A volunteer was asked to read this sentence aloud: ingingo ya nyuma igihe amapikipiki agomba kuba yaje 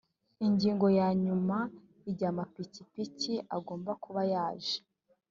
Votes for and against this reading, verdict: 1, 2, rejected